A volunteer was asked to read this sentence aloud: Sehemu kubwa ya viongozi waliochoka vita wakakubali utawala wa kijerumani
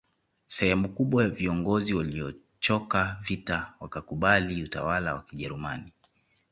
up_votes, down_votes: 2, 0